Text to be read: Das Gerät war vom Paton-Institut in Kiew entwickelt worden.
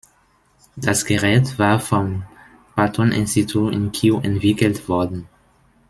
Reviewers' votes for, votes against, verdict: 0, 2, rejected